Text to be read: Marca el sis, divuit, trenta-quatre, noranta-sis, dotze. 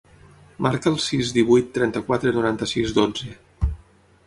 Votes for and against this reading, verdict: 6, 0, accepted